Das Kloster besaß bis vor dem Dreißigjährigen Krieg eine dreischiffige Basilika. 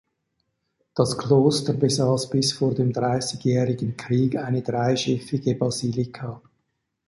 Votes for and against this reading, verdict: 2, 0, accepted